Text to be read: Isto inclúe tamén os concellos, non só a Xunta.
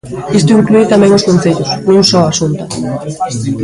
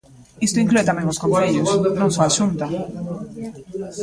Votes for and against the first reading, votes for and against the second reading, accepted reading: 2, 0, 0, 2, first